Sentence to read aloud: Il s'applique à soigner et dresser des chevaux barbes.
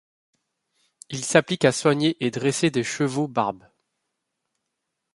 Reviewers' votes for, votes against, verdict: 3, 0, accepted